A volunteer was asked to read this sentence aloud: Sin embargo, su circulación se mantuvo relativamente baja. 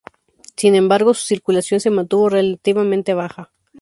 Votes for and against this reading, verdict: 4, 0, accepted